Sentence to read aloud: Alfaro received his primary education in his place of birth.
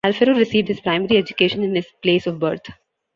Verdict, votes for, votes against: rejected, 1, 2